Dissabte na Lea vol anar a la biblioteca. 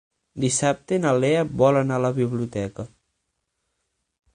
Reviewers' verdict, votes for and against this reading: accepted, 9, 0